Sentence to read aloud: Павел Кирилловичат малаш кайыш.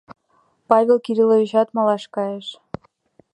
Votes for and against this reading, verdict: 2, 0, accepted